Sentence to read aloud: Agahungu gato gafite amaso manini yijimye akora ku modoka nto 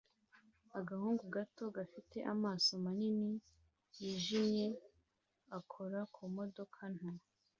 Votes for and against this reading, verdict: 2, 0, accepted